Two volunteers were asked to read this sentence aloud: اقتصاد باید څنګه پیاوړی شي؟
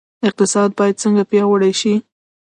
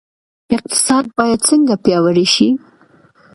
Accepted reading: second